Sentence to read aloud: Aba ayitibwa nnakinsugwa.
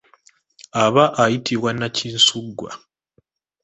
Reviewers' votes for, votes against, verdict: 2, 0, accepted